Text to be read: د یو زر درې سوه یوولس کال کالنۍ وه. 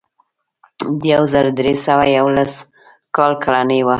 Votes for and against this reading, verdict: 2, 1, accepted